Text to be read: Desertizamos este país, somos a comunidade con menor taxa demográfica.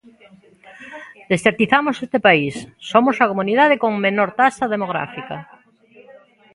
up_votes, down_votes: 0, 2